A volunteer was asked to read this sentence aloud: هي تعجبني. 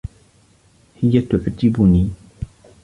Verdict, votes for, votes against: accepted, 2, 0